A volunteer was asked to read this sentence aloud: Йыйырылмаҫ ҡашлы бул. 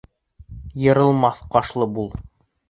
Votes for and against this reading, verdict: 1, 2, rejected